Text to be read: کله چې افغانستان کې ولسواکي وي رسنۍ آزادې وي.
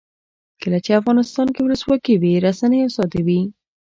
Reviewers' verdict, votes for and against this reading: accepted, 2, 0